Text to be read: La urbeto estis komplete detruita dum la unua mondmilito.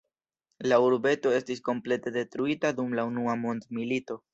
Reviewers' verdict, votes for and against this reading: accepted, 2, 0